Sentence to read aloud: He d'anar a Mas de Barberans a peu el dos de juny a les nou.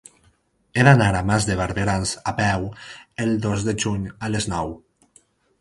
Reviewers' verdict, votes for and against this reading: accepted, 6, 0